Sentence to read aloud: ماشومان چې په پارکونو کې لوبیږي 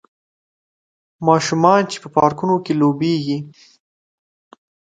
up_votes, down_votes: 2, 0